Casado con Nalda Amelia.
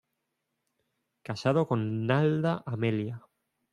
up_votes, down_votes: 1, 2